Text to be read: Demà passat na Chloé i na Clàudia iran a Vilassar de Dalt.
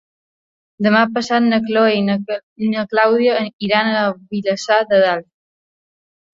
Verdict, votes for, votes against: rejected, 0, 2